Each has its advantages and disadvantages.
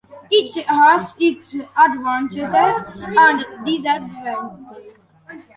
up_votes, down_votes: 1, 2